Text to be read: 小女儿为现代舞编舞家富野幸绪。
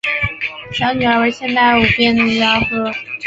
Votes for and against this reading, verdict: 1, 2, rejected